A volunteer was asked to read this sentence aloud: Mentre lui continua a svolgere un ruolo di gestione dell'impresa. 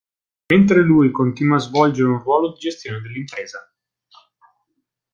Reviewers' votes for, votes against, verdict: 2, 0, accepted